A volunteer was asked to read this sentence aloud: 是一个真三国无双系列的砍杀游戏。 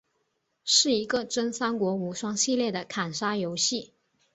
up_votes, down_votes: 3, 0